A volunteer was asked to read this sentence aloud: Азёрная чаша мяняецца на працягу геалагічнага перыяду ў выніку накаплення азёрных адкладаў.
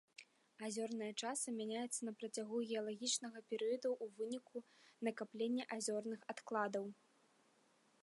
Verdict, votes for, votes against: rejected, 0, 2